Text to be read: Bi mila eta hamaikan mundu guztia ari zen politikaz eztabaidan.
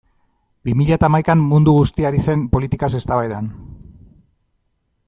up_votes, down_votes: 2, 0